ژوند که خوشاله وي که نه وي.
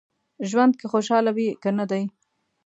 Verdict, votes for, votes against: rejected, 0, 3